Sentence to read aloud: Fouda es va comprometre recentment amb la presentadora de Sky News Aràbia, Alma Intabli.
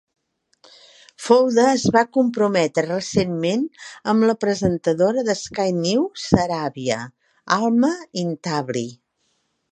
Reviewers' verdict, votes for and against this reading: rejected, 0, 2